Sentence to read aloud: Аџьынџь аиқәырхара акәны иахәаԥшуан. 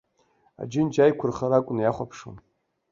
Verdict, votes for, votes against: rejected, 1, 2